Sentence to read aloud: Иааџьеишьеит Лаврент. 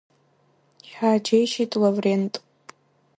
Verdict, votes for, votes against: rejected, 1, 2